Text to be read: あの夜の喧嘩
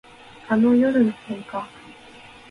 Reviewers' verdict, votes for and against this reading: accepted, 3, 1